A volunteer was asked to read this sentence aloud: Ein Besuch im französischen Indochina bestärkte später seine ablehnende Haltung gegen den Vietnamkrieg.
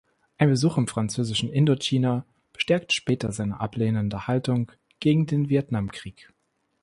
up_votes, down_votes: 2, 0